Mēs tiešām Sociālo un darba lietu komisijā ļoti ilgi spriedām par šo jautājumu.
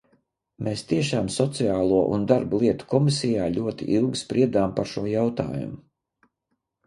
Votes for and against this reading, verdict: 2, 0, accepted